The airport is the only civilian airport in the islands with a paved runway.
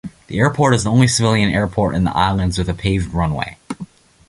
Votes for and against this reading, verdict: 2, 0, accepted